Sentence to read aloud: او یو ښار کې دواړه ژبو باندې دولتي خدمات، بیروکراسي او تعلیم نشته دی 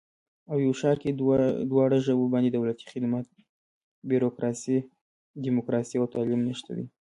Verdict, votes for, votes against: rejected, 1, 2